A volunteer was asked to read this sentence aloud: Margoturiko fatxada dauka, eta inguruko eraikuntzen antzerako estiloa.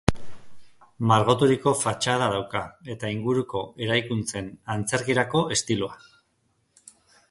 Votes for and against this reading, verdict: 1, 2, rejected